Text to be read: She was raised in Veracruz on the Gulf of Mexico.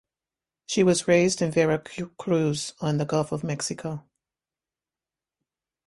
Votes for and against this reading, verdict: 1, 2, rejected